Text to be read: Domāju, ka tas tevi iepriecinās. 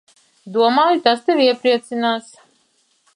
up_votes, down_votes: 0, 2